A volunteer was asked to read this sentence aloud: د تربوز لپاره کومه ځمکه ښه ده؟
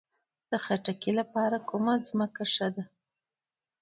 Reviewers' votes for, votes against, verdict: 1, 2, rejected